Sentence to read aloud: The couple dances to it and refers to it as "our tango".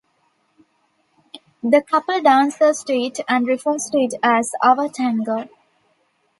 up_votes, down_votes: 2, 0